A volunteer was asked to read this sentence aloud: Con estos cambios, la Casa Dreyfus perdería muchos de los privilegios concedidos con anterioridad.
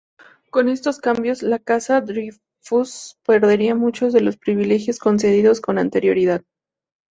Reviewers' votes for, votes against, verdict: 0, 2, rejected